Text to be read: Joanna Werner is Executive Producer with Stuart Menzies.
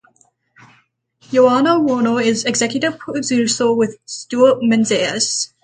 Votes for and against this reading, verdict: 3, 3, rejected